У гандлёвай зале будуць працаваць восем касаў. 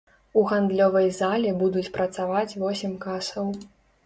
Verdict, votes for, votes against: accepted, 2, 0